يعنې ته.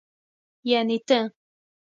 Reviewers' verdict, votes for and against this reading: accepted, 2, 0